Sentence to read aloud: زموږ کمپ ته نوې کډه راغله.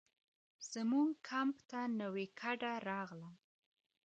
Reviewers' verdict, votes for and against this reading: accepted, 2, 0